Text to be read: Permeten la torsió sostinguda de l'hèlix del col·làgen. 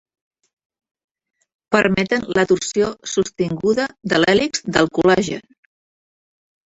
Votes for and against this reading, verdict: 3, 0, accepted